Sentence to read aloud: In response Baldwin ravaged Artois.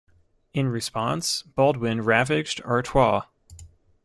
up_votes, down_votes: 2, 0